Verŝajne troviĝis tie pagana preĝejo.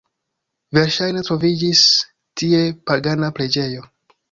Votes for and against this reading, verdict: 2, 0, accepted